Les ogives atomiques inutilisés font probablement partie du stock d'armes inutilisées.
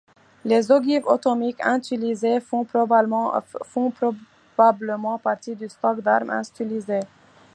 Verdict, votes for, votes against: accepted, 2, 0